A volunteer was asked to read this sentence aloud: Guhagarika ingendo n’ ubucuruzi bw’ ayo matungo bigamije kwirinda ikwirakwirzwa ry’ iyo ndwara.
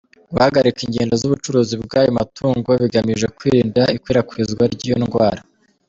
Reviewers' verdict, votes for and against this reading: rejected, 0, 2